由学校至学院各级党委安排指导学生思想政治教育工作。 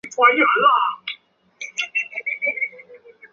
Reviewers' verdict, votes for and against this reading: rejected, 1, 4